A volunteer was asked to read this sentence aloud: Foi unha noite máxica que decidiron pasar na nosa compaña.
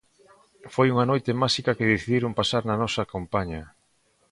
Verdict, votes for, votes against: accepted, 2, 0